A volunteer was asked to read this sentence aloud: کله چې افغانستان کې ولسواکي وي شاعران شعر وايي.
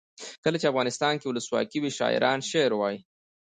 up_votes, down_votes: 1, 2